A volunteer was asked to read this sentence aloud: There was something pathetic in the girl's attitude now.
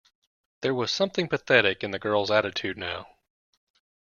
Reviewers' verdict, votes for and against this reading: accepted, 3, 0